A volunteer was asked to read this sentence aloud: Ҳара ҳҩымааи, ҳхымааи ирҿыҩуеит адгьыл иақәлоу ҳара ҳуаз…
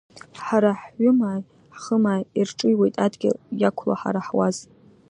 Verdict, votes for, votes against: accepted, 2, 0